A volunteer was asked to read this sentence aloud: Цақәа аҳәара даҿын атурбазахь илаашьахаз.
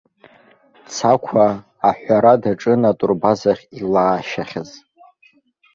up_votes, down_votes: 2, 0